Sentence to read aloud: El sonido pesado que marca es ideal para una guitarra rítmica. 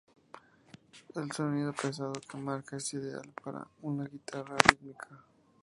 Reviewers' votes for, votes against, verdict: 2, 0, accepted